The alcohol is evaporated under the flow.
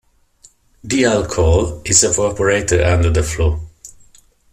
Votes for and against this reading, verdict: 2, 0, accepted